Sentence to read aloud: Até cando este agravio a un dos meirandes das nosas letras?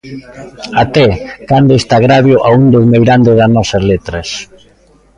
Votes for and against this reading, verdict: 1, 2, rejected